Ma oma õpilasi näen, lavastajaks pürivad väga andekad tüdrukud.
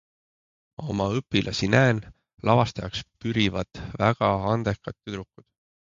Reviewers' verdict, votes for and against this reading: accepted, 3, 0